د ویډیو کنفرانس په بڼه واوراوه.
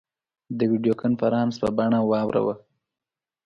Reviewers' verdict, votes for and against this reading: accepted, 2, 0